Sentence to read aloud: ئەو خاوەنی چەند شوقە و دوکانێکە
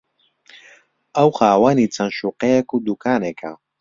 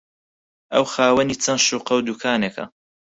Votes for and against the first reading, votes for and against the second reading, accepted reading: 1, 2, 4, 0, second